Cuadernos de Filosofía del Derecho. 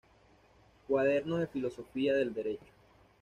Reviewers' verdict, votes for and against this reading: accepted, 2, 0